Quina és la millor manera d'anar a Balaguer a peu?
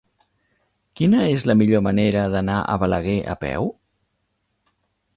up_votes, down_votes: 3, 0